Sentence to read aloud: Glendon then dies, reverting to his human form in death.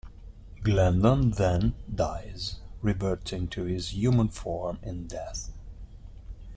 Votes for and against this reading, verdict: 2, 0, accepted